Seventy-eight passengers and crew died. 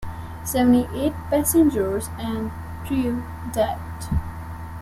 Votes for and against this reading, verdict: 2, 0, accepted